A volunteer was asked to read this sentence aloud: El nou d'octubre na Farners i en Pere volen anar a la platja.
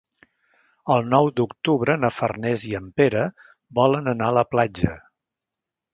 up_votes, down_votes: 3, 0